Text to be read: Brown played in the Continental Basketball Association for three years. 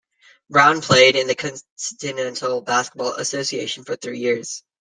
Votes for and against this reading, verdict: 0, 2, rejected